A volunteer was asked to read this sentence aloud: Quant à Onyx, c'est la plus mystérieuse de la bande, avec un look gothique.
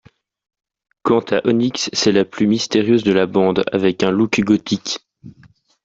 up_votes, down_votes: 0, 2